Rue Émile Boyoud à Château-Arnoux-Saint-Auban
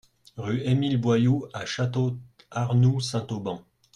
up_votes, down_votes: 3, 1